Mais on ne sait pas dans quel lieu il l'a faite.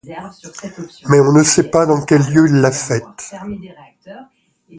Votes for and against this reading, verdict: 1, 2, rejected